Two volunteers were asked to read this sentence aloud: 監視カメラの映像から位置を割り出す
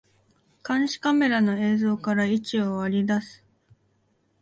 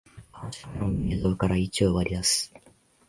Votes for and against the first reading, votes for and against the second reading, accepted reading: 2, 0, 1, 2, first